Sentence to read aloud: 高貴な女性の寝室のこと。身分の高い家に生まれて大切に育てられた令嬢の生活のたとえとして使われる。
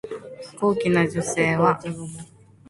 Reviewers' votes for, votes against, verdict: 0, 2, rejected